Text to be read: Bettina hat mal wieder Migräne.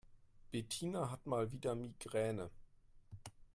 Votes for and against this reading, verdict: 2, 0, accepted